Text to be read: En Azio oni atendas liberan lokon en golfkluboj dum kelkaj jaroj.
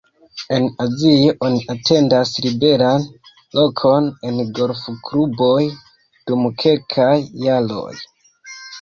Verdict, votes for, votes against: rejected, 1, 2